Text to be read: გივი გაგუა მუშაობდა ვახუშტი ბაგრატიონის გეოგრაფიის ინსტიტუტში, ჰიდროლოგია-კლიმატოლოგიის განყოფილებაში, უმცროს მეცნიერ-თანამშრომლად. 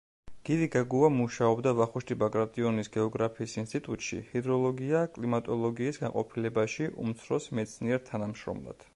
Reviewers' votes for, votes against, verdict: 2, 0, accepted